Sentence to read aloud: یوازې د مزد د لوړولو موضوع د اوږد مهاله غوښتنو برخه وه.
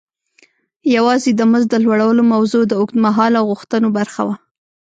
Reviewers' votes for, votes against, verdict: 1, 2, rejected